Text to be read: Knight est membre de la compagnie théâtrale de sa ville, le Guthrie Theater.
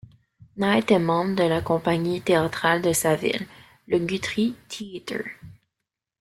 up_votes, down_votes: 1, 2